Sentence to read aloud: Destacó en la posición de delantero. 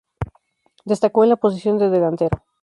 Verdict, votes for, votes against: rejected, 2, 2